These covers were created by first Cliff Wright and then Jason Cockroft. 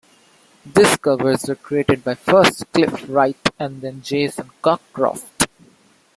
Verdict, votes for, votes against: rejected, 0, 3